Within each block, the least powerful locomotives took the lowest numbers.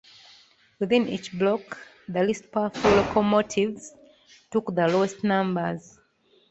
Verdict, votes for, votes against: accepted, 2, 0